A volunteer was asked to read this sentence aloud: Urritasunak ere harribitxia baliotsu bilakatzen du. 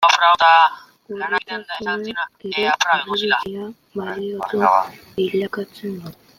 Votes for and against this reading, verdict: 0, 2, rejected